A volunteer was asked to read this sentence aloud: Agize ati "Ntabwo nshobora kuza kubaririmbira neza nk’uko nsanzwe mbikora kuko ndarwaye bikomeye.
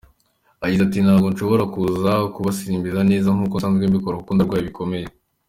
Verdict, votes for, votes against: accepted, 2, 0